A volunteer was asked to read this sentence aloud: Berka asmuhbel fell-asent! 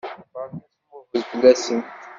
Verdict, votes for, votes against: rejected, 0, 2